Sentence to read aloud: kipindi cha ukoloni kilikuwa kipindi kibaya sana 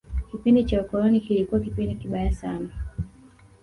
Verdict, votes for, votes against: rejected, 0, 2